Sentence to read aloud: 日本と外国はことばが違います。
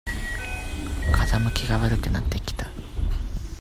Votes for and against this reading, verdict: 0, 2, rejected